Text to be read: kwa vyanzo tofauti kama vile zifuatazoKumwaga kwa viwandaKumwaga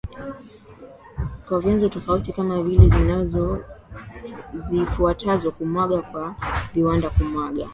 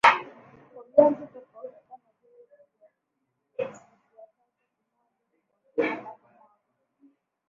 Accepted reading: first